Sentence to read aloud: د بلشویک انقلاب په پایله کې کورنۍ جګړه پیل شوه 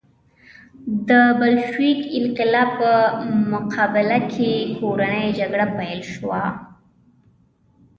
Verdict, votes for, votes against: rejected, 1, 2